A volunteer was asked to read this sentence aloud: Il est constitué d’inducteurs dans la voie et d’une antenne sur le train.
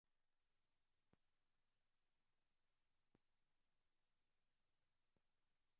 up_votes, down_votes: 0, 2